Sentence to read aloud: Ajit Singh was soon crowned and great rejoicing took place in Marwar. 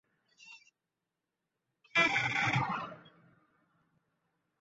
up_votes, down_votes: 0, 2